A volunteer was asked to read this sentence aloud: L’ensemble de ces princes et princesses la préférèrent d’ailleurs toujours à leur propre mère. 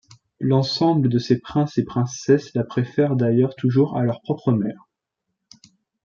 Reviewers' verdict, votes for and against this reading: rejected, 1, 2